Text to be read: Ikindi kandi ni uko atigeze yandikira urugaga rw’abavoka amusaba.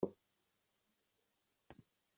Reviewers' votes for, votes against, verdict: 0, 2, rejected